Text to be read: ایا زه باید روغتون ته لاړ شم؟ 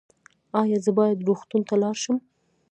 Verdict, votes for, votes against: rejected, 0, 2